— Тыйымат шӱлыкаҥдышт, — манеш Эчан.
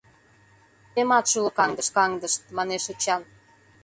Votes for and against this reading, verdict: 0, 2, rejected